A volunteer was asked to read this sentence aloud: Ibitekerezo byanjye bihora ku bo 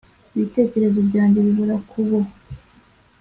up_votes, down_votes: 2, 0